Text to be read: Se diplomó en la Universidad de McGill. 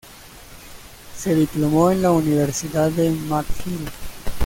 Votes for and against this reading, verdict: 1, 2, rejected